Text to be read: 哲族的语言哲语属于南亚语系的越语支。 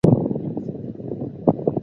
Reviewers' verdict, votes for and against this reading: rejected, 0, 2